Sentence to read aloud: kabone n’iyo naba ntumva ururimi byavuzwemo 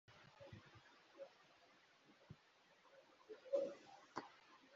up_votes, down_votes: 0, 2